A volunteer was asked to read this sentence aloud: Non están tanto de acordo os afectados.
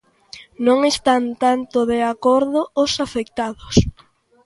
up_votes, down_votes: 2, 0